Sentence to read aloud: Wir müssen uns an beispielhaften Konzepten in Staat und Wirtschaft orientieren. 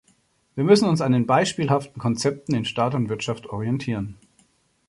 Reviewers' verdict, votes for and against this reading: accepted, 2, 0